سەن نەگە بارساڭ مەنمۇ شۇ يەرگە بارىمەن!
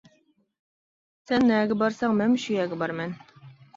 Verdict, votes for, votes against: accepted, 2, 0